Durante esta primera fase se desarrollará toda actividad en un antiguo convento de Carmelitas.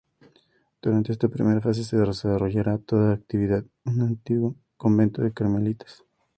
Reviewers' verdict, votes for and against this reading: rejected, 0, 2